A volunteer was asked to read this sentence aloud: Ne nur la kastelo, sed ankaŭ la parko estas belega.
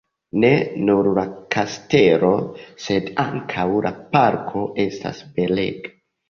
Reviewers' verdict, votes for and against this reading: rejected, 0, 2